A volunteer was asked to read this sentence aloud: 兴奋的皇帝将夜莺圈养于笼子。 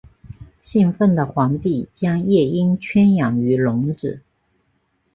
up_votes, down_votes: 2, 0